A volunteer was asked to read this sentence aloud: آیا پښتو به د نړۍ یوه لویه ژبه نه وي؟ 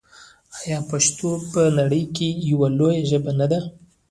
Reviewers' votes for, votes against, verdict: 0, 2, rejected